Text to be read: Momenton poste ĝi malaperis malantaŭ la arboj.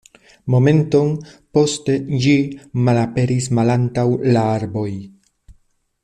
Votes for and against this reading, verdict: 2, 0, accepted